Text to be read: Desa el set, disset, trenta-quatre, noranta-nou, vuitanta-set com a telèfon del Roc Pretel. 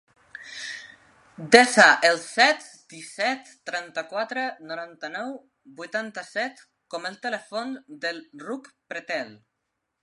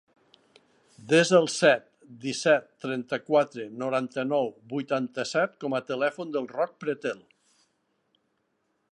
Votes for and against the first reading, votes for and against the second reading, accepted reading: 0, 2, 5, 0, second